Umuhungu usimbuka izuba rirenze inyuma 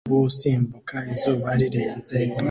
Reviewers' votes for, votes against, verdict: 0, 2, rejected